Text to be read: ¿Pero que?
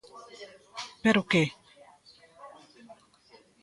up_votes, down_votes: 1, 2